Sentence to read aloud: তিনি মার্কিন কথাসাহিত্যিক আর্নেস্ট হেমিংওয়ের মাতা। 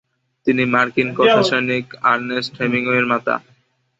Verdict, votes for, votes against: rejected, 0, 2